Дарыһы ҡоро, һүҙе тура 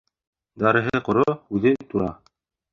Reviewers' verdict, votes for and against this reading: rejected, 1, 2